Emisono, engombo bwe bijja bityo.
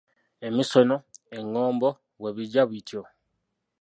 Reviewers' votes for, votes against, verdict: 1, 2, rejected